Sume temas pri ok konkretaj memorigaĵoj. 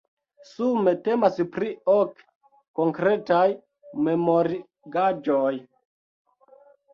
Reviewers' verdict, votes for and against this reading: accepted, 2, 1